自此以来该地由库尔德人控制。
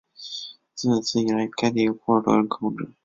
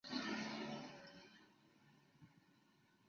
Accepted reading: first